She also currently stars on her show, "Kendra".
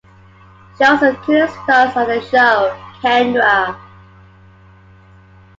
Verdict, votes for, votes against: accepted, 3, 2